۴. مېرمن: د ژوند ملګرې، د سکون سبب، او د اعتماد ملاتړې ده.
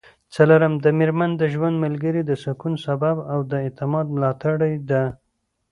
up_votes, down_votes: 0, 2